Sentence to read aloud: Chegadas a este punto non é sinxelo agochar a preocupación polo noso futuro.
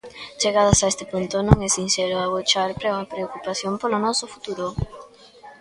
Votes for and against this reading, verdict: 0, 2, rejected